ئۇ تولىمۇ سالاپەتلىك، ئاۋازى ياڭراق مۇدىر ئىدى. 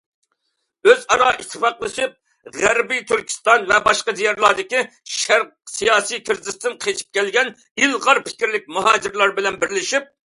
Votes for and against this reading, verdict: 0, 2, rejected